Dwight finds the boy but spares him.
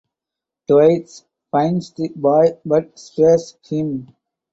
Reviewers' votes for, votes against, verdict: 0, 2, rejected